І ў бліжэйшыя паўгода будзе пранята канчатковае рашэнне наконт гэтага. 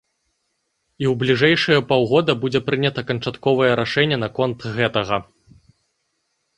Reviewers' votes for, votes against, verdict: 2, 0, accepted